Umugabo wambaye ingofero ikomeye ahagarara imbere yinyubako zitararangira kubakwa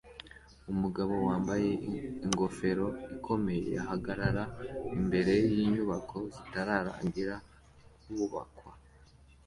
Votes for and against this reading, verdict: 2, 0, accepted